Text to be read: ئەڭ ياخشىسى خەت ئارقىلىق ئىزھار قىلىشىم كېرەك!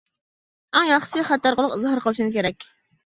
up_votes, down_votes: 1, 2